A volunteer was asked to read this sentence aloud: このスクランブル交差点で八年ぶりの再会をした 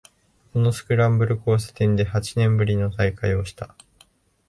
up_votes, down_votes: 2, 0